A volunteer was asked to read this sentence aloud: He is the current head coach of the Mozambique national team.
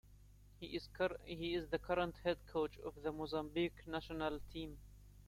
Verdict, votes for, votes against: accepted, 2, 1